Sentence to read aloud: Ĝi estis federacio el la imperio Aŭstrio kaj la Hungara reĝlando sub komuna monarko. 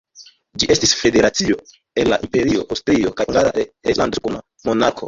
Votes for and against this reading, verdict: 1, 2, rejected